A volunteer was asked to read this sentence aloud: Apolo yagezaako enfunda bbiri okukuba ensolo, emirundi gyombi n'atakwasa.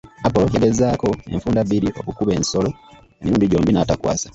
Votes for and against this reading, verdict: 2, 1, accepted